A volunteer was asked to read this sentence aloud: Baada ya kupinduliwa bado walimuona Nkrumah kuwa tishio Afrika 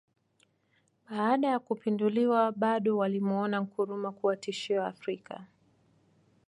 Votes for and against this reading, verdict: 2, 1, accepted